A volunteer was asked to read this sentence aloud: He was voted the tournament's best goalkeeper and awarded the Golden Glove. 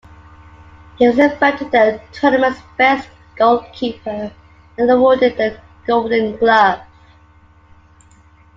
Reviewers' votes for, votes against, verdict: 2, 1, accepted